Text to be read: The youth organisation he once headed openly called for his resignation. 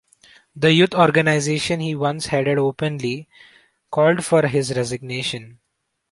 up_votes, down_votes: 1, 2